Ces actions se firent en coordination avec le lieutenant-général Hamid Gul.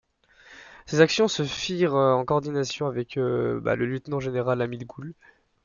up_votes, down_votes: 1, 2